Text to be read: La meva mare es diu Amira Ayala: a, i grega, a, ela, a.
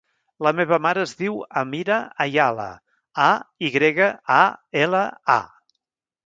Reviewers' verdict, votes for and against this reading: accepted, 3, 0